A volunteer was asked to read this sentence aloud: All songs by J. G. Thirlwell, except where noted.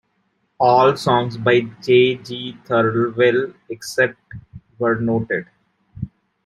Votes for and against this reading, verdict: 0, 2, rejected